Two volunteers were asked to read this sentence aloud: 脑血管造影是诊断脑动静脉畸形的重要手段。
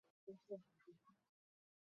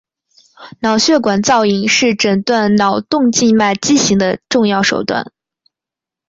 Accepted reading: second